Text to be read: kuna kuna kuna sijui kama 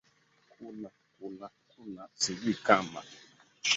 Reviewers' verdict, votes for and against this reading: accepted, 2, 1